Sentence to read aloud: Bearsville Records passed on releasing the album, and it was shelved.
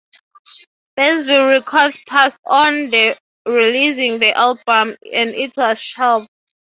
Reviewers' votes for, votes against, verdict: 0, 3, rejected